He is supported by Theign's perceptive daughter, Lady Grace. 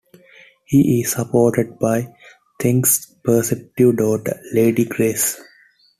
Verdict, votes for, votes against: rejected, 1, 2